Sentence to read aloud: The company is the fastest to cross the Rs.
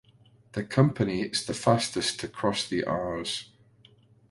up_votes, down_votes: 2, 0